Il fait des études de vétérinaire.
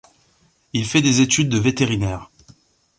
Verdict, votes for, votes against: accepted, 2, 0